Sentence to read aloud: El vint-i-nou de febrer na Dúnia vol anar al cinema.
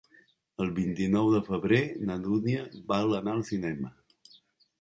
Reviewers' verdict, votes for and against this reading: rejected, 1, 2